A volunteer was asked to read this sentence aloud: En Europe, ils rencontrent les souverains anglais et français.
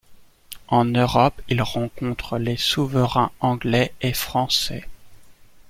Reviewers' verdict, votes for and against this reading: accepted, 2, 1